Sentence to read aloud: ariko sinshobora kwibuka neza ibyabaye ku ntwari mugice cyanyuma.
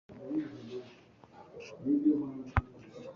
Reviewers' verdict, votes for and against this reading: rejected, 1, 2